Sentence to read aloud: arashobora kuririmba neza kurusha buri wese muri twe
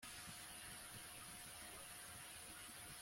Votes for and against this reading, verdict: 1, 2, rejected